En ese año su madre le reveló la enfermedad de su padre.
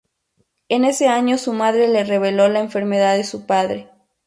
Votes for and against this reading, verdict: 2, 0, accepted